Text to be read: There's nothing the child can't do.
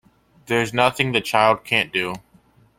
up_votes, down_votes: 2, 0